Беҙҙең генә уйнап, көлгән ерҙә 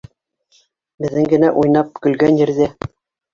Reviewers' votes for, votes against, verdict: 1, 2, rejected